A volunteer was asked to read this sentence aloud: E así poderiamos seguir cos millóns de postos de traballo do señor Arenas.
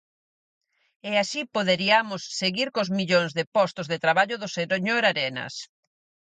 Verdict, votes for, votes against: rejected, 2, 4